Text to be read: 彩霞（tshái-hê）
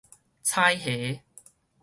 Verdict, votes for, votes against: accepted, 4, 0